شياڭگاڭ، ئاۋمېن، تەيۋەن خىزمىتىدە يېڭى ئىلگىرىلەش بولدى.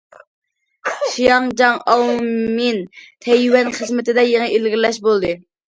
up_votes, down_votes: 0, 2